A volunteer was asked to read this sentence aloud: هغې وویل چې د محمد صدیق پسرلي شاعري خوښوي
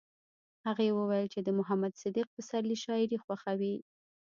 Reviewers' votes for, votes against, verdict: 1, 2, rejected